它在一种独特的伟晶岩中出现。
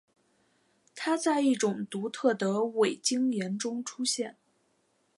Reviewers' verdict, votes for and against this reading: accepted, 2, 0